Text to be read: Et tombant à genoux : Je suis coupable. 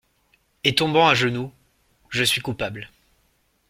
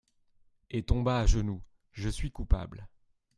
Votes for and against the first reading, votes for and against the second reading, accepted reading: 2, 0, 0, 2, first